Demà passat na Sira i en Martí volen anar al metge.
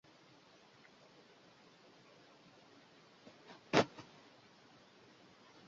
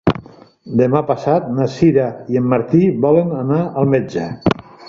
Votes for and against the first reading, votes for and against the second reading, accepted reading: 0, 2, 2, 0, second